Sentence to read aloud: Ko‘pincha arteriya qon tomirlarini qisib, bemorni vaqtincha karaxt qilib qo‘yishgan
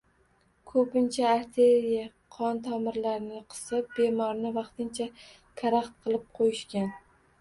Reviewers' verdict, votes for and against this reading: rejected, 1, 2